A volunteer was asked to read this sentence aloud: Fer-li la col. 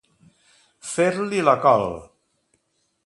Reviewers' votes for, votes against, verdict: 2, 0, accepted